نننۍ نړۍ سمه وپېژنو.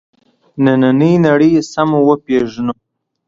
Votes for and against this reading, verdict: 2, 1, accepted